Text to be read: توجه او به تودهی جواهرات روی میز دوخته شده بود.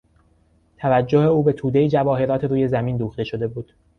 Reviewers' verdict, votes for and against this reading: rejected, 0, 2